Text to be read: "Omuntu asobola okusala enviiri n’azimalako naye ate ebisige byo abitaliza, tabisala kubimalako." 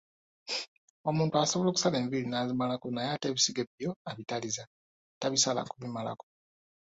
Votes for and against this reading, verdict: 2, 0, accepted